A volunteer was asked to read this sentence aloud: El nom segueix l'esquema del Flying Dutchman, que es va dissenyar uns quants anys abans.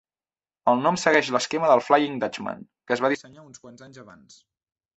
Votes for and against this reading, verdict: 1, 2, rejected